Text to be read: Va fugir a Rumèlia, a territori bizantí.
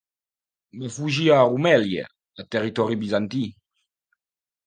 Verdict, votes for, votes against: accepted, 2, 0